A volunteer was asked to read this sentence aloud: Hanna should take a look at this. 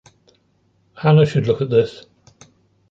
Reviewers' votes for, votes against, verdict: 0, 2, rejected